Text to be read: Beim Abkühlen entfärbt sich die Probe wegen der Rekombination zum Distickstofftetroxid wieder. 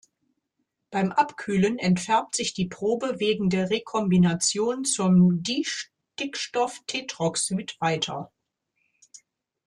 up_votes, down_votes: 0, 2